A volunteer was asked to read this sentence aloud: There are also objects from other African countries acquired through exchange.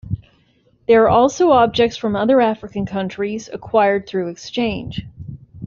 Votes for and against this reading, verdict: 2, 0, accepted